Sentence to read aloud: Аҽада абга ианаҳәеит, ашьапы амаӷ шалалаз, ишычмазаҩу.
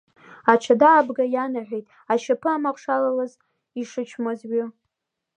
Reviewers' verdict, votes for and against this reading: rejected, 0, 2